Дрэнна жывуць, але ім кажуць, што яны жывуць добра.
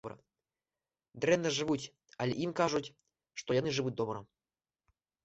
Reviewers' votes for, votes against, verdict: 2, 0, accepted